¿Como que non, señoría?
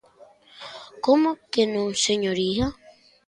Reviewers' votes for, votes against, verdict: 2, 0, accepted